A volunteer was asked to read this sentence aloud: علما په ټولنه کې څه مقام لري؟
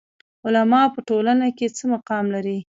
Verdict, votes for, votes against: rejected, 0, 2